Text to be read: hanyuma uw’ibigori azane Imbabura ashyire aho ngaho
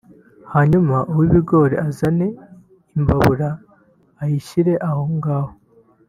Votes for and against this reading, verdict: 2, 3, rejected